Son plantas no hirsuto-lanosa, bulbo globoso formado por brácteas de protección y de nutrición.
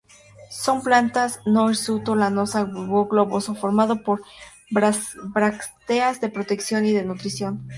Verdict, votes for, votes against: accepted, 2, 0